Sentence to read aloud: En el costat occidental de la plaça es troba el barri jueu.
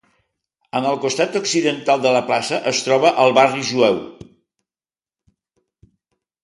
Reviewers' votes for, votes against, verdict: 3, 0, accepted